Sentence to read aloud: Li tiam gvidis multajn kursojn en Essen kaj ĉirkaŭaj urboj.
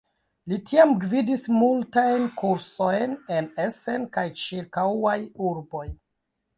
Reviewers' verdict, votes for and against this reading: rejected, 0, 2